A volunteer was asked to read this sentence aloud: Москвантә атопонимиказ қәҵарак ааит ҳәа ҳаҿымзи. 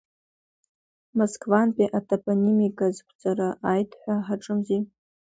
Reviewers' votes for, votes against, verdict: 2, 1, accepted